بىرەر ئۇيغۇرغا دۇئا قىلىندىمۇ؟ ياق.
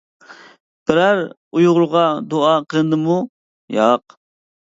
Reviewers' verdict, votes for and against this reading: rejected, 0, 2